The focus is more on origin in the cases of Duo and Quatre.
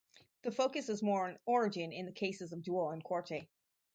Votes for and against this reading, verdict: 2, 0, accepted